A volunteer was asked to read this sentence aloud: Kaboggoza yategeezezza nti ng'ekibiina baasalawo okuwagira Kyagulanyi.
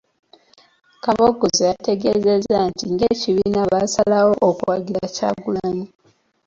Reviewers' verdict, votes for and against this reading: accepted, 2, 0